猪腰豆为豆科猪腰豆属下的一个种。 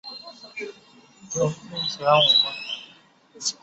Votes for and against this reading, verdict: 2, 7, rejected